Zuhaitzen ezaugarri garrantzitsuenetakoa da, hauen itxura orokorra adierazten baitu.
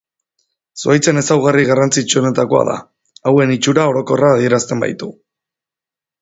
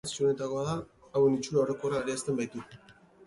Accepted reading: first